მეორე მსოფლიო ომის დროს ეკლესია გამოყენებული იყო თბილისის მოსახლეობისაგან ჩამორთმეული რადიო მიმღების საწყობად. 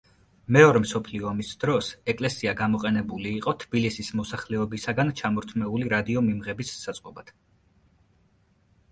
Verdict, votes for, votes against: accepted, 2, 0